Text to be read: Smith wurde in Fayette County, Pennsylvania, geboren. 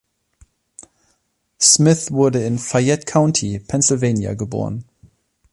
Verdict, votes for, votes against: accepted, 2, 0